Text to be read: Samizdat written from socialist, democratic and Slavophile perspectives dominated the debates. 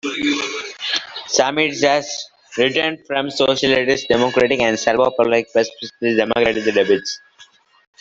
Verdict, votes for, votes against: rejected, 0, 2